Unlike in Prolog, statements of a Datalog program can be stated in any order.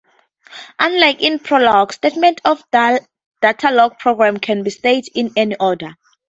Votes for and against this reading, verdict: 0, 4, rejected